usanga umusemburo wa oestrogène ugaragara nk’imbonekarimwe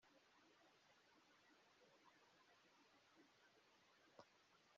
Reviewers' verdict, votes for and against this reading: rejected, 0, 2